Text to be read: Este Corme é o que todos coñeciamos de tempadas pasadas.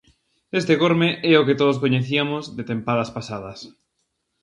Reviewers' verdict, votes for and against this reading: rejected, 0, 2